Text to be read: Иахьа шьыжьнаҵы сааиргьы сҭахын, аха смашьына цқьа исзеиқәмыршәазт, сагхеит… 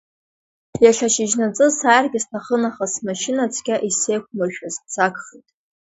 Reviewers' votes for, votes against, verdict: 1, 2, rejected